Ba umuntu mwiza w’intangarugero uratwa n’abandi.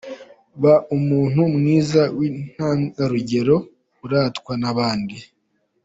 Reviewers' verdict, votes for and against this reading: accepted, 4, 0